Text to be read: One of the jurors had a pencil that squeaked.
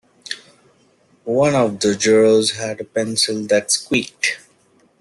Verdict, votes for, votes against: rejected, 1, 3